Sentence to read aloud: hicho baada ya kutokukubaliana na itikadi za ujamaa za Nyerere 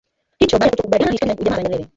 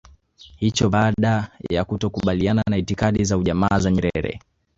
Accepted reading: second